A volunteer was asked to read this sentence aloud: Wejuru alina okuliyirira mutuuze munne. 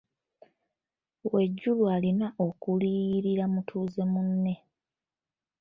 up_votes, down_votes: 2, 0